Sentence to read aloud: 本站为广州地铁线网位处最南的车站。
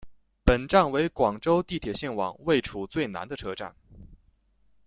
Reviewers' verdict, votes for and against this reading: accepted, 2, 0